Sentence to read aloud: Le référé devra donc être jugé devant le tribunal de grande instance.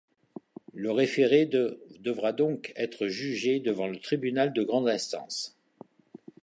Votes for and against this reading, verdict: 0, 2, rejected